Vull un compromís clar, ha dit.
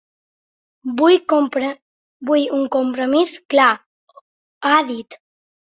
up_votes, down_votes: 1, 2